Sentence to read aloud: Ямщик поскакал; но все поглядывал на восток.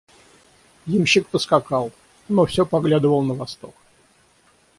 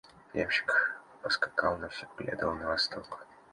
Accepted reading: first